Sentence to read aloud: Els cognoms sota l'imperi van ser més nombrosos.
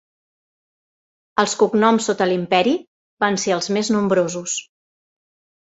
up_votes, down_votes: 1, 2